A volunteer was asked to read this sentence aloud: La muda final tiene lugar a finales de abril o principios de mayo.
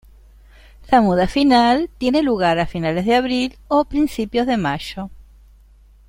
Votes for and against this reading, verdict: 1, 2, rejected